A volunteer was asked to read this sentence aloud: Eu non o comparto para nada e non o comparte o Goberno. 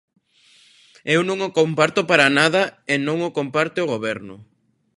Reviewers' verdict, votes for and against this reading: accepted, 2, 0